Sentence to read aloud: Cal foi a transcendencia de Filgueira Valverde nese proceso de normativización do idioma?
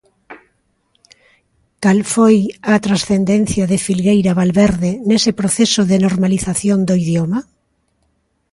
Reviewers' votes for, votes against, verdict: 0, 2, rejected